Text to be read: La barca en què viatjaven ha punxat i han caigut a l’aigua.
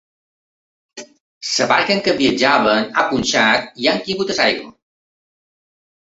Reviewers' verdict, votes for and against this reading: rejected, 2, 3